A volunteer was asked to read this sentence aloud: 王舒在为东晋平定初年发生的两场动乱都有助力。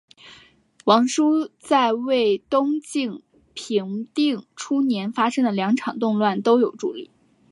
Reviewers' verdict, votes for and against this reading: accepted, 5, 1